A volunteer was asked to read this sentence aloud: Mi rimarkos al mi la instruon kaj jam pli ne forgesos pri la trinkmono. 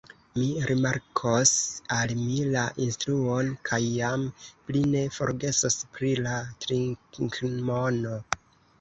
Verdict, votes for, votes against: rejected, 0, 2